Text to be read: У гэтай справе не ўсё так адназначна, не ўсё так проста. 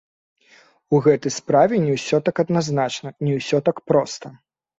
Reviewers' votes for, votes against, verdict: 1, 2, rejected